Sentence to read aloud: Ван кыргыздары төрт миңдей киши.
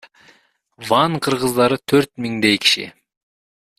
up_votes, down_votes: 1, 2